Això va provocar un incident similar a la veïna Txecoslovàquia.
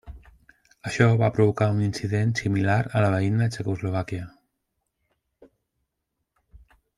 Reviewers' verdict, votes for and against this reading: accepted, 2, 0